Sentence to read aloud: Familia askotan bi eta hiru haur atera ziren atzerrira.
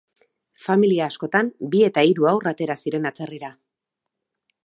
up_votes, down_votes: 4, 0